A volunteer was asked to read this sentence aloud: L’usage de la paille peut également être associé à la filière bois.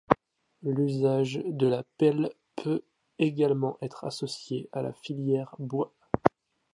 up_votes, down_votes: 0, 2